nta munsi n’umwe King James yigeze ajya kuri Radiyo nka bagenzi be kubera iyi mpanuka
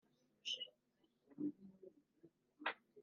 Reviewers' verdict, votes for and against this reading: rejected, 1, 2